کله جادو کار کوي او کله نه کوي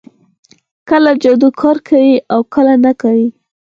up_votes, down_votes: 2, 4